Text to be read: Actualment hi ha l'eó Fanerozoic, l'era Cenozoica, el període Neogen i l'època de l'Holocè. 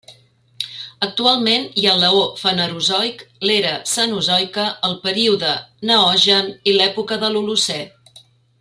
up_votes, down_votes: 2, 0